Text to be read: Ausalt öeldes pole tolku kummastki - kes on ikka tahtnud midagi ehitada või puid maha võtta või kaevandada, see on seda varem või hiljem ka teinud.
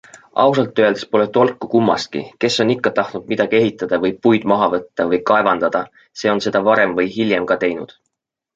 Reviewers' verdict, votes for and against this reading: accepted, 2, 0